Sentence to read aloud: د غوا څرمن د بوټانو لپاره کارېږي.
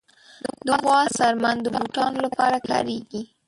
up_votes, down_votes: 0, 2